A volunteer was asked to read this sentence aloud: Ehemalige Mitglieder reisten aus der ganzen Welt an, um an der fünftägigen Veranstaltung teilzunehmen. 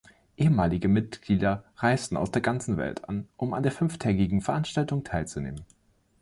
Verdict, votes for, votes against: accepted, 2, 0